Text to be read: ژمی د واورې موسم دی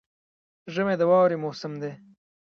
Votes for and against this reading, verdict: 1, 2, rejected